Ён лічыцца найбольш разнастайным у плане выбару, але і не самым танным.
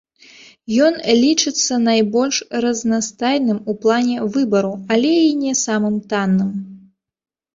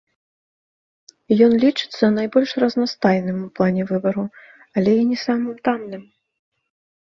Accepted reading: second